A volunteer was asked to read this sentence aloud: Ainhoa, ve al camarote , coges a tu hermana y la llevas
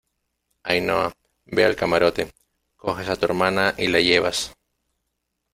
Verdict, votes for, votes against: accepted, 2, 0